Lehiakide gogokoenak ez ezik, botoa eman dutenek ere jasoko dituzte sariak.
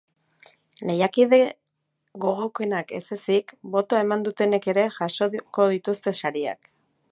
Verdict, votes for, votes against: rejected, 0, 3